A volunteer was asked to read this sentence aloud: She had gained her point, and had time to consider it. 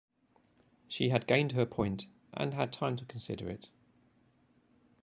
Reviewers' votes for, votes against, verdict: 2, 0, accepted